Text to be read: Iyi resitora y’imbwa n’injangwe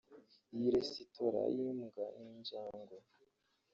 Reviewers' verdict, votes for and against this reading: accepted, 3, 2